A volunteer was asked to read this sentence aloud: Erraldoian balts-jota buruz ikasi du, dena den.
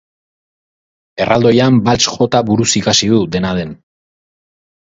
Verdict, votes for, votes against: accepted, 6, 0